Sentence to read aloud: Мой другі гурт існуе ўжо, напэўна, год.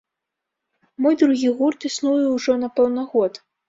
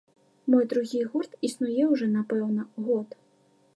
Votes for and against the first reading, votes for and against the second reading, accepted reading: 2, 3, 2, 0, second